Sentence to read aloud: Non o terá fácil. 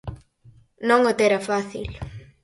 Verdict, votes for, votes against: accepted, 4, 0